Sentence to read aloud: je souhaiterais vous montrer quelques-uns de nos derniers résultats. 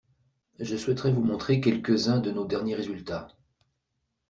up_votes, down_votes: 2, 0